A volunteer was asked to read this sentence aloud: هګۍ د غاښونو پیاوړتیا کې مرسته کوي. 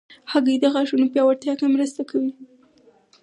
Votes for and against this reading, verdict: 4, 0, accepted